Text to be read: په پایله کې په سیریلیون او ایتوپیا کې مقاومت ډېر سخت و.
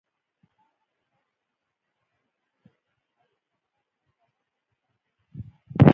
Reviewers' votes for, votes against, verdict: 0, 2, rejected